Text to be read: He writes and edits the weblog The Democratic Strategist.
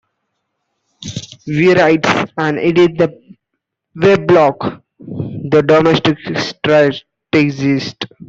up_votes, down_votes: 0, 2